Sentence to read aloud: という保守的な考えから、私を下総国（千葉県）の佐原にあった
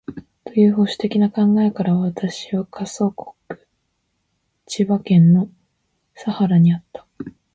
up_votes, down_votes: 0, 3